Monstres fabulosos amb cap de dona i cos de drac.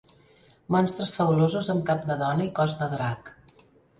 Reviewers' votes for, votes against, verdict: 3, 0, accepted